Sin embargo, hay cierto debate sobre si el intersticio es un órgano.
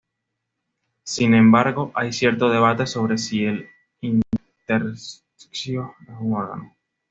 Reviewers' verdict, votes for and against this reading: accepted, 2, 1